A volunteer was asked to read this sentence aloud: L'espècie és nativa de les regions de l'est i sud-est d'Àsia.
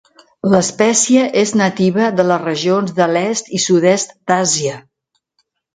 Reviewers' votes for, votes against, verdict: 4, 0, accepted